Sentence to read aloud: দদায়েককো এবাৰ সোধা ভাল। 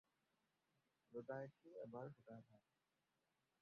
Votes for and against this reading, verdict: 0, 4, rejected